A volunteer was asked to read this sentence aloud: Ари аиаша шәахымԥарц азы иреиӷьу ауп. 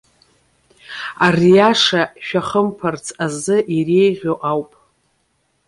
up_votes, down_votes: 0, 2